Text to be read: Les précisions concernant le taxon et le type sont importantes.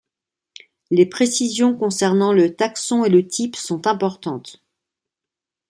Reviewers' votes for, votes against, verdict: 2, 0, accepted